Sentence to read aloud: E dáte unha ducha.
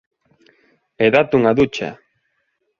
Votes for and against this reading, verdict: 2, 0, accepted